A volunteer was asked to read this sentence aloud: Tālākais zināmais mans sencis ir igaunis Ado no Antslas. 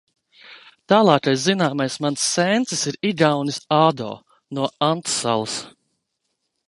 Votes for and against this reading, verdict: 0, 2, rejected